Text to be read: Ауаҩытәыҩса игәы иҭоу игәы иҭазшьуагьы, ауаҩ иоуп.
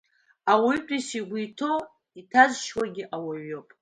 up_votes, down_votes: 0, 2